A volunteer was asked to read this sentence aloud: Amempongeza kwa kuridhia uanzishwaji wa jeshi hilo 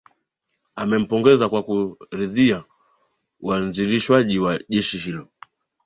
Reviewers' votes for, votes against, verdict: 1, 2, rejected